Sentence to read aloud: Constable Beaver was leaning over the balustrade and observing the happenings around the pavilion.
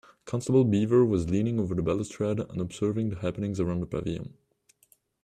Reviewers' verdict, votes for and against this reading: accepted, 2, 0